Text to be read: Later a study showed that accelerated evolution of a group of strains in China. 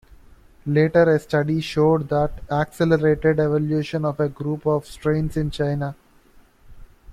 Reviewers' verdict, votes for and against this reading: accepted, 2, 0